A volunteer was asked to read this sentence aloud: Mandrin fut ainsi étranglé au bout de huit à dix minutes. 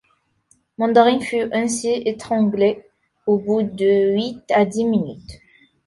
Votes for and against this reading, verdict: 2, 3, rejected